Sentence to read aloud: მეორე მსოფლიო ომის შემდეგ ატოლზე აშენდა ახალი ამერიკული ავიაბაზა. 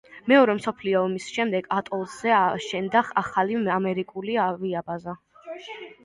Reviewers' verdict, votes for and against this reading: rejected, 0, 2